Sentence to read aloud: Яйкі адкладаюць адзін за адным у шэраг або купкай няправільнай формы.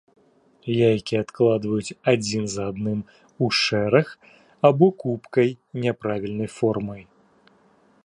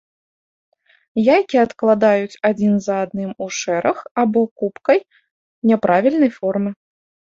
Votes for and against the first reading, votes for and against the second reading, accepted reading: 0, 2, 2, 0, second